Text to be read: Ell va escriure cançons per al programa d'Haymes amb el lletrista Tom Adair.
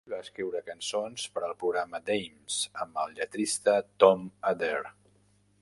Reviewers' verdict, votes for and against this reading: rejected, 1, 2